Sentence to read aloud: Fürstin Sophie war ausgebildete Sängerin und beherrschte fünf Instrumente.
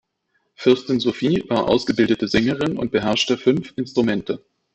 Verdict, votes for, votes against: rejected, 1, 2